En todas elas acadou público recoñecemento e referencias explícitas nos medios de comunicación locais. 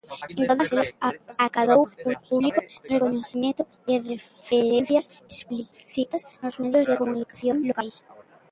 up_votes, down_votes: 0, 3